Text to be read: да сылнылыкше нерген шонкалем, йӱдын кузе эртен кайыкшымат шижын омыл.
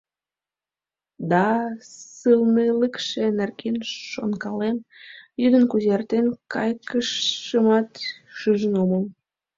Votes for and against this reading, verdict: 0, 2, rejected